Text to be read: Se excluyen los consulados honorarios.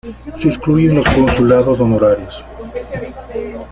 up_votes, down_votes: 0, 2